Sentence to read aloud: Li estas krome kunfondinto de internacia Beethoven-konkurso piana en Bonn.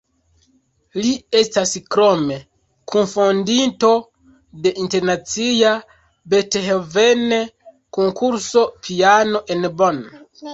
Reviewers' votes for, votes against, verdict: 2, 0, accepted